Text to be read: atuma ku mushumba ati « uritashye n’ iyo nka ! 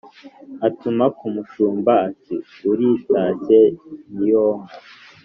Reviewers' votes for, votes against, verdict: 2, 0, accepted